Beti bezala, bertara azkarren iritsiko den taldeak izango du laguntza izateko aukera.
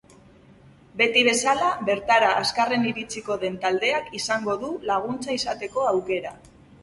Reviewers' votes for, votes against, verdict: 4, 0, accepted